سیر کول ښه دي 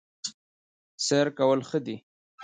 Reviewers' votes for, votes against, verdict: 1, 2, rejected